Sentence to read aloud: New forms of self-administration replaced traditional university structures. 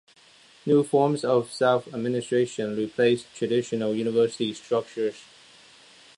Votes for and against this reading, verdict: 1, 2, rejected